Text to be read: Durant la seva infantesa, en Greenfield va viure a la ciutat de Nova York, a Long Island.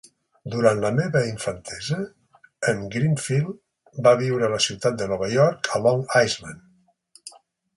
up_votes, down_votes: 2, 4